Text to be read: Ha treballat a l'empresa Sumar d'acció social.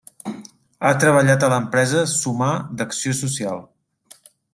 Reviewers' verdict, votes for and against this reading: accepted, 3, 0